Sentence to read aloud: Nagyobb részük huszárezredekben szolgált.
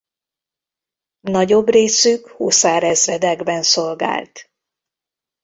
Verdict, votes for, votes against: rejected, 0, 2